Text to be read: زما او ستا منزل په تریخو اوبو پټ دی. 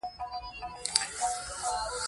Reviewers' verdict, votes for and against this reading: accepted, 2, 1